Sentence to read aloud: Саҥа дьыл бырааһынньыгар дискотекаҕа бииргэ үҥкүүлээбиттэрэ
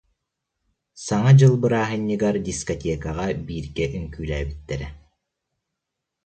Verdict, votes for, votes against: accepted, 2, 0